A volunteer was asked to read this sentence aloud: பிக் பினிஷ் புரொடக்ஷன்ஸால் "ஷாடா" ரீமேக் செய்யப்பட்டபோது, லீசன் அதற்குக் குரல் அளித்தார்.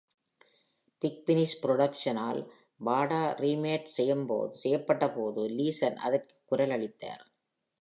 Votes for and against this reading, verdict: 0, 2, rejected